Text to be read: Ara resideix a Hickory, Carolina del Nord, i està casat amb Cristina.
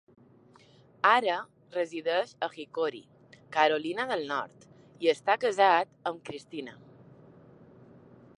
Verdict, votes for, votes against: accepted, 4, 0